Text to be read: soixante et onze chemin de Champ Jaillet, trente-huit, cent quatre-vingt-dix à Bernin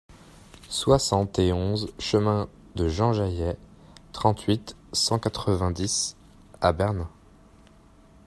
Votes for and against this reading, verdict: 0, 2, rejected